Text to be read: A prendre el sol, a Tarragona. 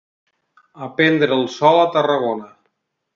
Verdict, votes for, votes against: accepted, 2, 0